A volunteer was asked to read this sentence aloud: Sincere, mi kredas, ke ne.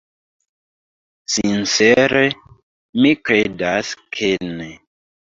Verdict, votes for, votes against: rejected, 1, 3